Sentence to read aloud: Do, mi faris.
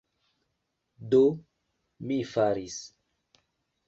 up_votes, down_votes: 2, 0